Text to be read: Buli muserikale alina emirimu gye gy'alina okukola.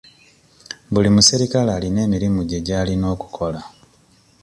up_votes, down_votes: 2, 0